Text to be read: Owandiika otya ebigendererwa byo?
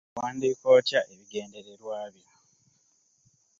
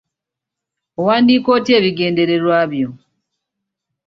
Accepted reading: second